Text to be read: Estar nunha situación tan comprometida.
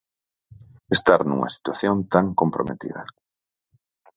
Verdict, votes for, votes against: accepted, 4, 0